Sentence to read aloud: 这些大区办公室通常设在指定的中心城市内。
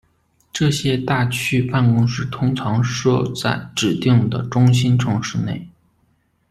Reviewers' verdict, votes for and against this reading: accepted, 2, 1